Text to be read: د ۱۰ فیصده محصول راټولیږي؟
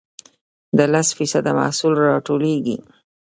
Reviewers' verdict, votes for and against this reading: rejected, 0, 2